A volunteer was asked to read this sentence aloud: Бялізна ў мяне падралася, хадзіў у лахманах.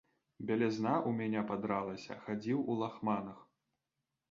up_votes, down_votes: 0, 2